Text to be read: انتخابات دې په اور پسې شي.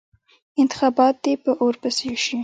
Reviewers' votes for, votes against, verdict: 1, 2, rejected